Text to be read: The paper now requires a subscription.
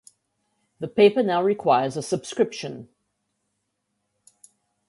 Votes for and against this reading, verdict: 2, 0, accepted